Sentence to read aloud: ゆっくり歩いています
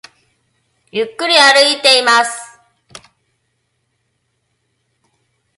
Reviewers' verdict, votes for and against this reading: accepted, 2, 0